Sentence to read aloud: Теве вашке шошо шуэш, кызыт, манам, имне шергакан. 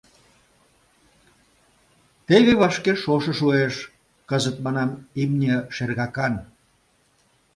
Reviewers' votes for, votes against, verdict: 2, 0, accepted